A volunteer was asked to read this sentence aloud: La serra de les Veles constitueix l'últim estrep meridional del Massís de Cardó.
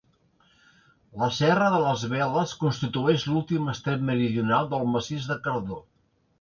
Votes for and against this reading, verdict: 2, 0, accepted